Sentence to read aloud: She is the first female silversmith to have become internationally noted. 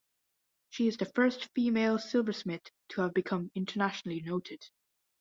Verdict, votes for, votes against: accepted, 2, 0